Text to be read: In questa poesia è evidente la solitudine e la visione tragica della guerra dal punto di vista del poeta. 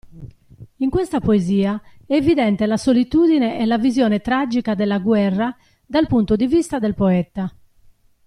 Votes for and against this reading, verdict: 2, 0, accepted